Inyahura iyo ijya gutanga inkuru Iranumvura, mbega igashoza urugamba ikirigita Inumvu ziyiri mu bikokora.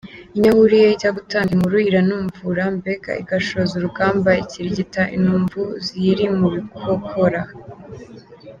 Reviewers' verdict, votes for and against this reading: accepted, 2, 0